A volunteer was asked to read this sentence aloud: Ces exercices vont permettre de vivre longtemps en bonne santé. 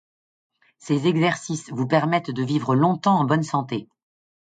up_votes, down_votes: 1, 2